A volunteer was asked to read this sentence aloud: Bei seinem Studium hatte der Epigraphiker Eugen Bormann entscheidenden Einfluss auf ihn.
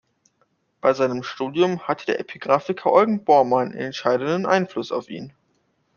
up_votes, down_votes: 1, 2